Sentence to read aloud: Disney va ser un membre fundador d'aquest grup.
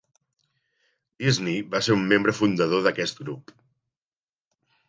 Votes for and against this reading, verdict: 2, 0, accepted